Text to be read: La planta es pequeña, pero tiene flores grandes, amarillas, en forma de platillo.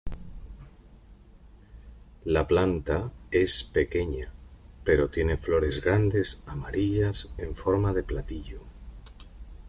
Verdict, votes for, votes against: accepted, 2, 0